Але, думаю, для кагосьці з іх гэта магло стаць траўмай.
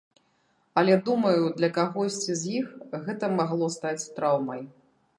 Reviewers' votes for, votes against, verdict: 2, 0, accepted